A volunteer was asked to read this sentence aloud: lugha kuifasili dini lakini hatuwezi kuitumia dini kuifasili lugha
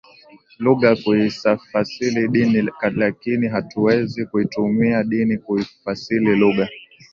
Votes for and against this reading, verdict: 2, 1, accepted